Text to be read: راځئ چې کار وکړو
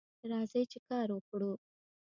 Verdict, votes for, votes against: accepted, 2, 0